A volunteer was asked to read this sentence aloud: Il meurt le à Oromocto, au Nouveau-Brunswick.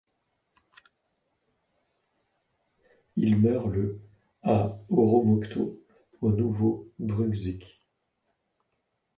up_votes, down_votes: 1, 2